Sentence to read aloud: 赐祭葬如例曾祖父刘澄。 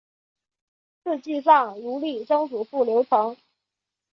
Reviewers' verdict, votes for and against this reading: accepted, 5, 0